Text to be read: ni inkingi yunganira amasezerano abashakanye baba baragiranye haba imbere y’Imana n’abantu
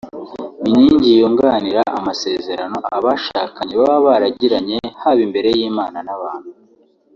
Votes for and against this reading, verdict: 2, 1, accepted